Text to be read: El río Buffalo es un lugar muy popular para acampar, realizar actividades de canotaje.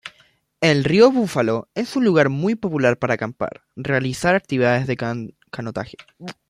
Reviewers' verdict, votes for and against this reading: rejected, 1, 2